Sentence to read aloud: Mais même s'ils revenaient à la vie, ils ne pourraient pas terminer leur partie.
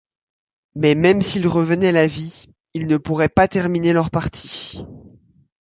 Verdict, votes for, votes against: accepted, 2, 0